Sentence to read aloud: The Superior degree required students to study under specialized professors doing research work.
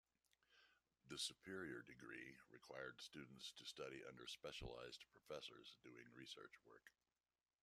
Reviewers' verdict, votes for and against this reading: rejected, 0, 2